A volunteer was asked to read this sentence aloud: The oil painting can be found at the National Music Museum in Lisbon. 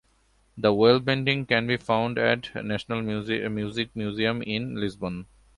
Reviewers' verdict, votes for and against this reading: accepted, 2, 0